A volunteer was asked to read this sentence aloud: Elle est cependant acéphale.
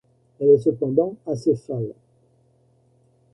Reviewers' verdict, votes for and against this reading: rejected, 1, 2